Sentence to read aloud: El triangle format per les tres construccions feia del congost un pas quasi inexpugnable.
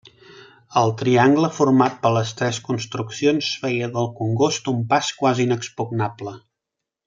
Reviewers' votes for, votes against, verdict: 3, 0, accepted